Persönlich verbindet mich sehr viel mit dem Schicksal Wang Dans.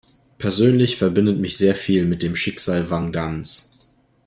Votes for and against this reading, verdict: 2, 0, accepted